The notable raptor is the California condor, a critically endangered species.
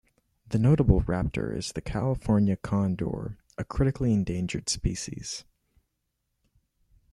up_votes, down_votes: 2, 0